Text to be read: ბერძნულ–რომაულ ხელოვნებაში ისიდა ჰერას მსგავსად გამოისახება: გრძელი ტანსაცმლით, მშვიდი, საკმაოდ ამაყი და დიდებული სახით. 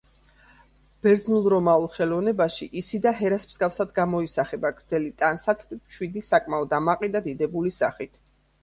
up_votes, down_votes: 2, 0